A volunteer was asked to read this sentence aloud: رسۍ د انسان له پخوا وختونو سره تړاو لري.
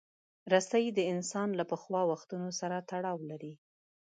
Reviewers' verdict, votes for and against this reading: accepted, 2, 0